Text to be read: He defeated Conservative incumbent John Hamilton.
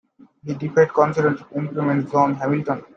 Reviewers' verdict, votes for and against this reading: rejected, 0, 2